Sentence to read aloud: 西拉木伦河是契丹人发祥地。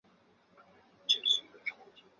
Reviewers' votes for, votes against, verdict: 0, 3, rejected